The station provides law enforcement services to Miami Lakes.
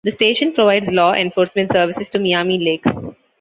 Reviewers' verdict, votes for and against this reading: accepted, 2, 0